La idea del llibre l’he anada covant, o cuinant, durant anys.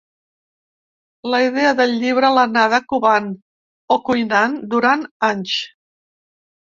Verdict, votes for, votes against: rejected, 1, 3